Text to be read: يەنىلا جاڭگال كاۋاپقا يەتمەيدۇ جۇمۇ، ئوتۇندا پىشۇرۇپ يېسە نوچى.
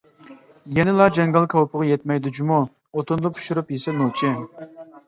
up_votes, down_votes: 0, 2